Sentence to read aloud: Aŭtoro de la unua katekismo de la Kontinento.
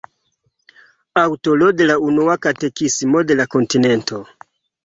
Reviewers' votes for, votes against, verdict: 2, 3, rejected